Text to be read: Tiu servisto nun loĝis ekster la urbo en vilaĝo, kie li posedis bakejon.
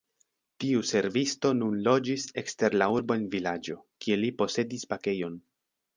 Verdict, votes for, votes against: rejected, 1, 2